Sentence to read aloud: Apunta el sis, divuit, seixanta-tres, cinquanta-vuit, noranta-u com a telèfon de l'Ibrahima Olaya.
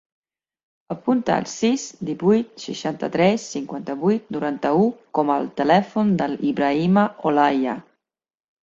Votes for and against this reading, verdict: 1, 2, rejected